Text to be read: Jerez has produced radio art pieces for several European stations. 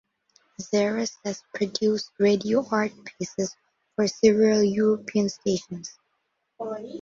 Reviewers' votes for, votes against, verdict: 2, 0, accepted